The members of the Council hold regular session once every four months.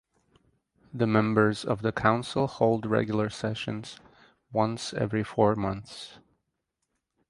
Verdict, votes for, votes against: rejected, 2, 4